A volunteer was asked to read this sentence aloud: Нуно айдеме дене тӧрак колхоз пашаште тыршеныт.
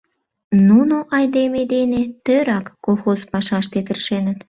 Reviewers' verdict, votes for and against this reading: accepted, 2, 0